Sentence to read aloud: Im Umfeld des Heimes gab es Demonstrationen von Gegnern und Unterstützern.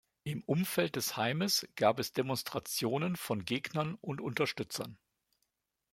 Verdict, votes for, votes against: accepted, 2, 0